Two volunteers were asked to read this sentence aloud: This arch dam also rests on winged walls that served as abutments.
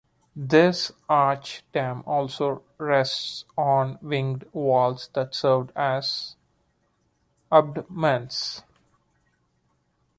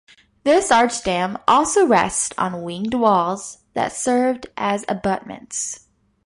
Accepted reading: second